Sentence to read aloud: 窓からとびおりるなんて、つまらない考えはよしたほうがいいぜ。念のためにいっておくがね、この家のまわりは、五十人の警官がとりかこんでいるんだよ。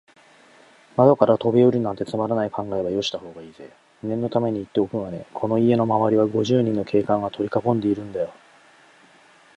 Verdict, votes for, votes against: accepted, 2, 0